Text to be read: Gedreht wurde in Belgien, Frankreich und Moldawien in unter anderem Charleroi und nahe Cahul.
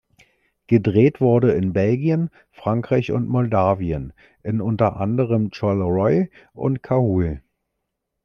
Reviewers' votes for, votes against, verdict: 0, 2, rejected